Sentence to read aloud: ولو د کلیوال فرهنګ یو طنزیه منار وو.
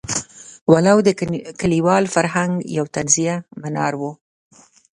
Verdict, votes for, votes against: rejected, 0, 2